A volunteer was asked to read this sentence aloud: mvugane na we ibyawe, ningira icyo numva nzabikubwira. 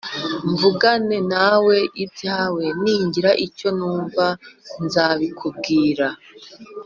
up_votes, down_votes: 2, 1